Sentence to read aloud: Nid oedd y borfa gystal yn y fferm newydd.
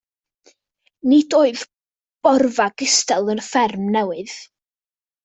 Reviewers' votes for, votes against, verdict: 0, 2, rejected